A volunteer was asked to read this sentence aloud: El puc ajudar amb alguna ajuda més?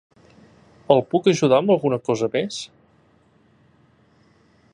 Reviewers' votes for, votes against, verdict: 0, 2, rejected